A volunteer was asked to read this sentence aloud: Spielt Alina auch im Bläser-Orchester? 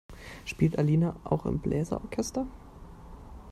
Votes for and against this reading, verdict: 2, 0, accepted